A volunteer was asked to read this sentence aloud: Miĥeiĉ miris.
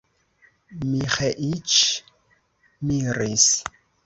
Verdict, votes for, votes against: accepted, 3, 0